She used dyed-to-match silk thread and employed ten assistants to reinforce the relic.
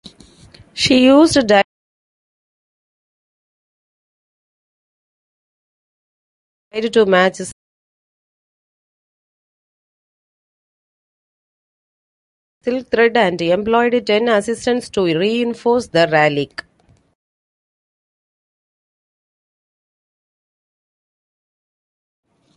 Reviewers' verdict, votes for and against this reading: rejected, 0, 2